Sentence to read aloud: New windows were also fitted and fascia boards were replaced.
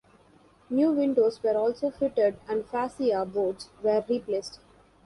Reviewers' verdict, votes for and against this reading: rejected, 0, 2